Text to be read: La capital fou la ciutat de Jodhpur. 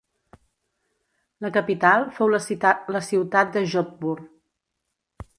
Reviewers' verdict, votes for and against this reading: rejected, 1, 2